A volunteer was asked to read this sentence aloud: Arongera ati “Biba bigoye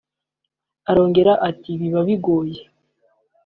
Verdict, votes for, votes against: accepted, 2, 0